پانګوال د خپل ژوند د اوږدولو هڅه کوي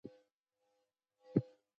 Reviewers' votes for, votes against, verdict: 1, 2, rejected